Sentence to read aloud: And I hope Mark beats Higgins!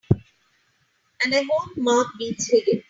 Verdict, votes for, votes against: rejected, 0, 2